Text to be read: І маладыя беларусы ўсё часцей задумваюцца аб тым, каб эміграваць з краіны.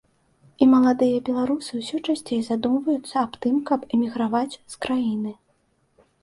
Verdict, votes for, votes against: accepted, 2, 0